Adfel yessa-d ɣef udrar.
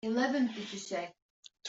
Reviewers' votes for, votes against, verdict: 1, 2, rejected